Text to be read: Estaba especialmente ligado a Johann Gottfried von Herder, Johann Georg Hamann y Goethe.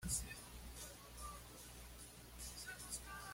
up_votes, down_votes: 1, 2